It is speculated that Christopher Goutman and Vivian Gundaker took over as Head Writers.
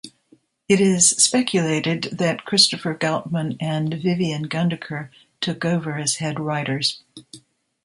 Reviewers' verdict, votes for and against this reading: accepted, 2, 0